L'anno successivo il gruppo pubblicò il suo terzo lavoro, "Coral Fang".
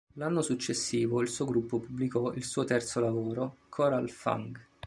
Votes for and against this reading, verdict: 1, 2, rejected